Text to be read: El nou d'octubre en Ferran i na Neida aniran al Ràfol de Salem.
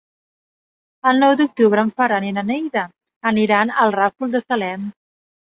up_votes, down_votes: 3, 1